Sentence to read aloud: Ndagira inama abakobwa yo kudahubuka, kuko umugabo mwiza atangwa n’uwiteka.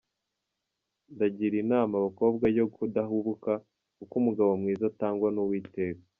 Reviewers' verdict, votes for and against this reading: accepted, 2, 0